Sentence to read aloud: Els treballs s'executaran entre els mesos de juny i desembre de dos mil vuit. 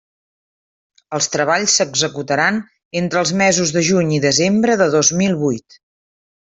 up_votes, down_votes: 3, 0